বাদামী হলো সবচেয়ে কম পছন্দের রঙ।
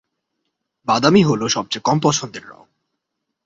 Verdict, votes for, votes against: accepted, 2, 0